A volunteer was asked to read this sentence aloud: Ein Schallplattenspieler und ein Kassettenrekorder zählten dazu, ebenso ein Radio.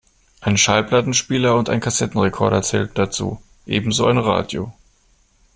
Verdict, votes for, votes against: accepted, 2, 0